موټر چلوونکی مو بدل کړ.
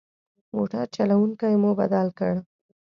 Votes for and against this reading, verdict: 2, 0, accepted